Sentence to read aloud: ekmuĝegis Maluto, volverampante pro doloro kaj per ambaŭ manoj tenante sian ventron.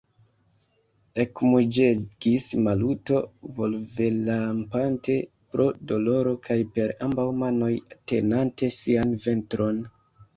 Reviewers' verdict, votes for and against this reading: rejected, 0, 2